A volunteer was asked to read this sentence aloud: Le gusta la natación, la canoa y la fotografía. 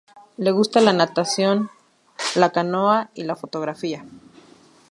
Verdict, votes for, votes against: accepted, 2, 0